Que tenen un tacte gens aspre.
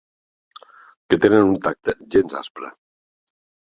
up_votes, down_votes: 3, 0